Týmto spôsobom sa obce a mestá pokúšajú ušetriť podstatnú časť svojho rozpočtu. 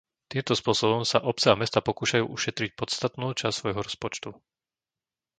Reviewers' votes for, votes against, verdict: 0, 2, rejected